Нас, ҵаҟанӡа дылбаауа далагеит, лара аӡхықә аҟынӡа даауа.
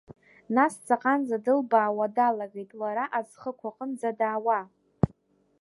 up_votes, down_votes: 0, 2